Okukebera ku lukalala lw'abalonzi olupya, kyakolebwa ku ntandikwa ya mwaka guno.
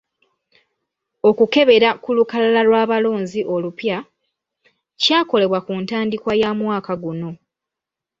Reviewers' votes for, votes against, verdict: 2, 0, accepted